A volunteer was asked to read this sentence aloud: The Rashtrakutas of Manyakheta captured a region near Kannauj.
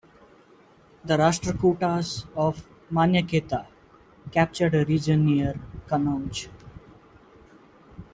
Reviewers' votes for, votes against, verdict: 2, 0, accepted